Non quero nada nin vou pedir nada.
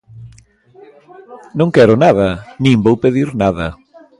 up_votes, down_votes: 2, 0